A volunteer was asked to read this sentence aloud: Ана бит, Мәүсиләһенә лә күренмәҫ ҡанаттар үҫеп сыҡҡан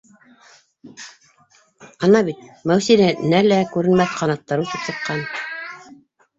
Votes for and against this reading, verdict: 1, 2, rejected